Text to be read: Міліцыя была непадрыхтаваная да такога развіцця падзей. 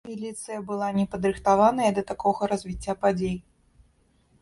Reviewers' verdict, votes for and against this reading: accepted, 2, 0